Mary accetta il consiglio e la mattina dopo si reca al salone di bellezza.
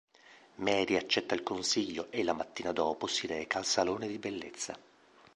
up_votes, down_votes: 2, 0